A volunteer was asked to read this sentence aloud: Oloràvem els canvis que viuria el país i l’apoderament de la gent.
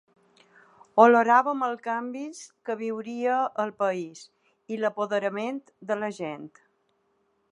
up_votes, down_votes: 2, 0